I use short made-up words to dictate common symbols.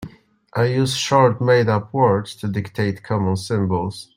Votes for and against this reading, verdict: 2, 0, accepted